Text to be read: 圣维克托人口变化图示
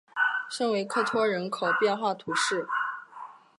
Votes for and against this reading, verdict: 8, 0, accepted